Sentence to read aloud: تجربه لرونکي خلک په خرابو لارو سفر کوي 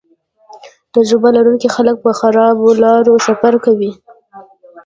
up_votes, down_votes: 2, 0